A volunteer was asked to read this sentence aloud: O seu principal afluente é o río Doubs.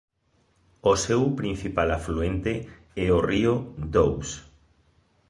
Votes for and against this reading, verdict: 3, 0, accepted